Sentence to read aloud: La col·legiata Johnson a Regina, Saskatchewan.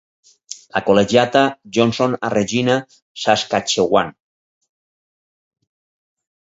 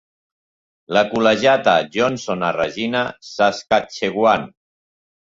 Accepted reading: second